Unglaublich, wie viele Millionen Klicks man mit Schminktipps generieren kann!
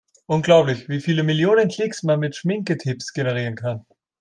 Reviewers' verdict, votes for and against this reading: rejected, 1, 2